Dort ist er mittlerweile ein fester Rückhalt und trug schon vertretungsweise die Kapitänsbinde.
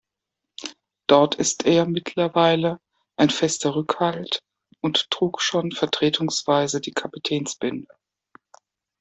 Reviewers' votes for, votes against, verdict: 1, 2, rejected